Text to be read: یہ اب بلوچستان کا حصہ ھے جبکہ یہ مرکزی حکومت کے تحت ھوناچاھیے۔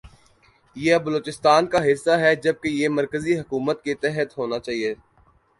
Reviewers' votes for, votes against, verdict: 2, 0, accepted